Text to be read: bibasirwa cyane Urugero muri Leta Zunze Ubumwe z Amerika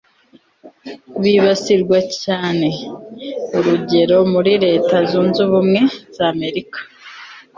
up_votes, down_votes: 2, 0